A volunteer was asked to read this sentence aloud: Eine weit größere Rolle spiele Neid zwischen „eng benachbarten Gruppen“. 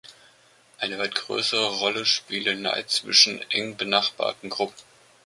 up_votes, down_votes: 2, 0